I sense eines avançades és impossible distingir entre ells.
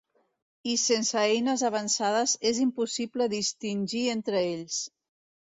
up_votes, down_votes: 2, 0